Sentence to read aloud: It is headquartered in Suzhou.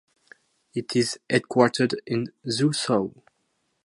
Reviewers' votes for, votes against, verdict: 0, 2, rejected